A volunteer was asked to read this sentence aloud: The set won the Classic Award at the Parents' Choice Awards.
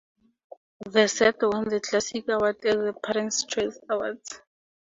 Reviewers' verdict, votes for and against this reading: accepted, 2, 0